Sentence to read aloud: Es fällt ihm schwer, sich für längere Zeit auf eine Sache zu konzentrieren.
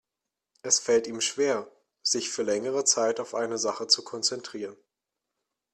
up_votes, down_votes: 3, 0